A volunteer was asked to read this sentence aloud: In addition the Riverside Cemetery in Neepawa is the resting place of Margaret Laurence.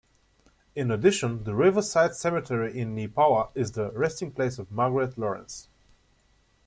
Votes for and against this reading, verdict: 2, 0, accepted